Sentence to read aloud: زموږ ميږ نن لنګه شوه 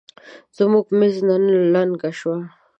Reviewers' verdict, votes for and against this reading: rejected, 0, 2